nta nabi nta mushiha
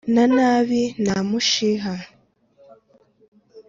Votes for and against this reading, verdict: 3, 0, accepted